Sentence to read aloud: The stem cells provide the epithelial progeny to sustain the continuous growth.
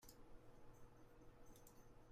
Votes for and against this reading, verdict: 0, 2, rejected